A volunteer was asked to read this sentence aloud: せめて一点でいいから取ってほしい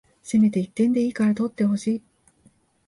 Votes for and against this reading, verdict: 2, 0, accepted